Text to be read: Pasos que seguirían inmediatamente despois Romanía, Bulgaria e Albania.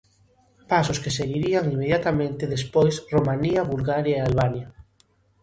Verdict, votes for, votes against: accepted, 2, 0